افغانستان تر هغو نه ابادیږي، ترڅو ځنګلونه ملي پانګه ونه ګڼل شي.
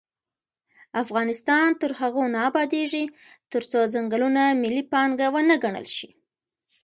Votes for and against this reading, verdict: 1, 2, rejected